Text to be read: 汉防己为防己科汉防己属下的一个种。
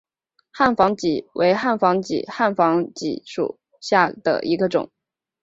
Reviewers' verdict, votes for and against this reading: accepted, 3, 2